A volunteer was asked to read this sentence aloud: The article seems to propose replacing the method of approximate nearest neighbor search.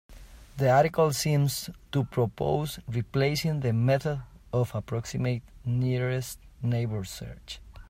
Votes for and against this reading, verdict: 2, 0, accepted